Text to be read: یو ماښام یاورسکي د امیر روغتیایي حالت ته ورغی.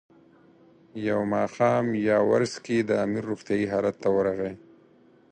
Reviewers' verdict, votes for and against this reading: accepted, 4, 0